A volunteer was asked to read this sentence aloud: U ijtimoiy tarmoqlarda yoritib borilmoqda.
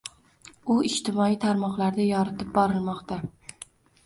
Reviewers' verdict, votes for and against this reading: accepted, 2, 1